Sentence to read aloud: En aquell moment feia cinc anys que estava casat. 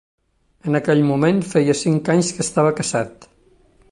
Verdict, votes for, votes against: rejected, 0, 2